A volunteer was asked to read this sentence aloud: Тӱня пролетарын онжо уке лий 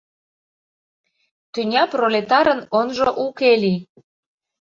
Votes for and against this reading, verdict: 2, 0, accepted